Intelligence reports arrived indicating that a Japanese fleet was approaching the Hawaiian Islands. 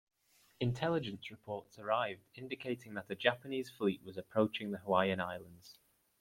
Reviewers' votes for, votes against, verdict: 1, 2, rejected